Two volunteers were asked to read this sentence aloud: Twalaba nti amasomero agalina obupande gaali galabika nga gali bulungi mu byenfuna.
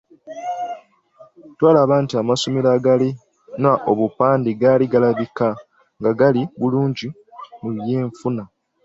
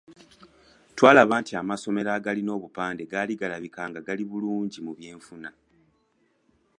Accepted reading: second